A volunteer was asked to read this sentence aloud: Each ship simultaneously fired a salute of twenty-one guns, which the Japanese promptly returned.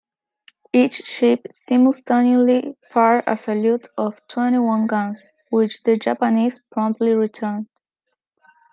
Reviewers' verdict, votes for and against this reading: rejected, 0, 2